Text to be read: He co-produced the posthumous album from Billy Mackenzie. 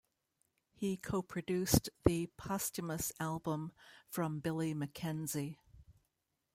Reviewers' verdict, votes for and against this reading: rejected, 1, 2